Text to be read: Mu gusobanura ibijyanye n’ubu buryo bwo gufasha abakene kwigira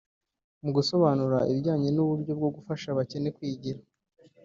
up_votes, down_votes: 0, 2